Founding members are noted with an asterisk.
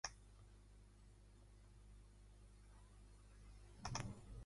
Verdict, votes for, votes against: rejected, 0, 2